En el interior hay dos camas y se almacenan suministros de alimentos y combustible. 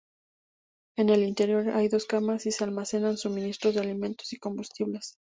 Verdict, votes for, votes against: rejected, 2, 2